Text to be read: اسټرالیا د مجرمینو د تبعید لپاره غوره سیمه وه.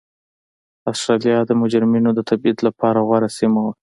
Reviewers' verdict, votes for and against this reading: accepted, 2, 0